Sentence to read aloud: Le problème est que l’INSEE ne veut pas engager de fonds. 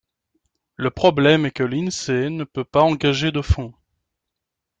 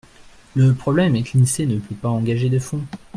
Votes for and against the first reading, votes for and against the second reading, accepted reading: 2, 1, 1, 2, first